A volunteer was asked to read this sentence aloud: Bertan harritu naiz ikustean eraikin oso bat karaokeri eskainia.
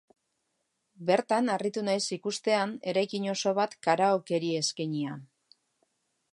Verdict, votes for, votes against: accepted, 2, 0